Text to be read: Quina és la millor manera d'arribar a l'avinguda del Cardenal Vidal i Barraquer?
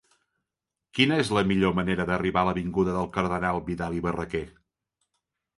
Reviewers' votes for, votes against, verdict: 4, 0, accepted